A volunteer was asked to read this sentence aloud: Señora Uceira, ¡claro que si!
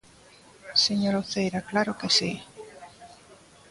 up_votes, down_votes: 2, 0